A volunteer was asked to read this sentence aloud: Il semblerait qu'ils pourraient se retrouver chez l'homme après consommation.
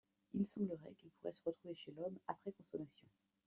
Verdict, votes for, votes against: rejected, 0, 2